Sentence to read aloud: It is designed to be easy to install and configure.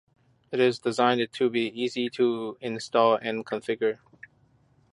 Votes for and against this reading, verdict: 1, 2, rejected